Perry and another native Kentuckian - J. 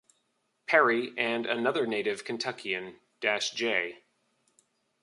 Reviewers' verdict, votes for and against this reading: rejected, 0, 2